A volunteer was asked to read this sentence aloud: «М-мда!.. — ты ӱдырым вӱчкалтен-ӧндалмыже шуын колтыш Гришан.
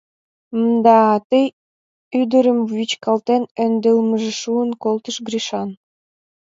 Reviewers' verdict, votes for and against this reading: rejected, 1, 2